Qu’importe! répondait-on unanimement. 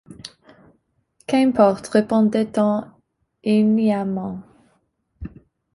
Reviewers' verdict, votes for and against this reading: rejected, 0, 2